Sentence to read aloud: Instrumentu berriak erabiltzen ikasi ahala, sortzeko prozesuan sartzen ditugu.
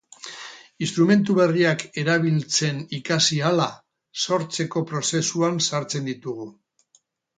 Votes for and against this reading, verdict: 2, 0, accepted